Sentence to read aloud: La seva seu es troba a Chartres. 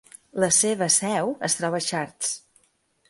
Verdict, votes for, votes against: accepted, 2, 0